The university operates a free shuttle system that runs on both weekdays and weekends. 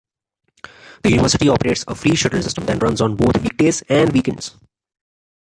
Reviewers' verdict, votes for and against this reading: rejected, 1, 2